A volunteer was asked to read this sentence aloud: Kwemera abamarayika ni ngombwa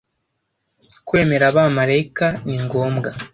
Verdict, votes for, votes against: accepted, 2, 0